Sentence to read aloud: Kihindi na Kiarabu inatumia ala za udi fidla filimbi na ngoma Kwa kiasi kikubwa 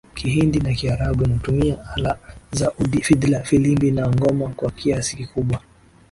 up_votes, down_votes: 23, 1